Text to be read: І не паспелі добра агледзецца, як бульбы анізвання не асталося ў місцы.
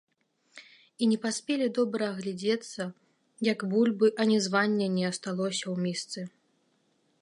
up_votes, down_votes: 1, 2